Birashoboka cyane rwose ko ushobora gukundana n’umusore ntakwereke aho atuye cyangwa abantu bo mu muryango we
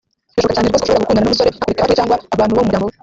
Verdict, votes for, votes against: rejected, 0, 2